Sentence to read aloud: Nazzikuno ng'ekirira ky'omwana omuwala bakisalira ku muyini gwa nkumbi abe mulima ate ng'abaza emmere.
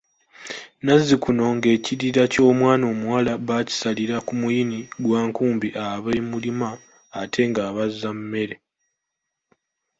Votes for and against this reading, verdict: 1, 2, rejected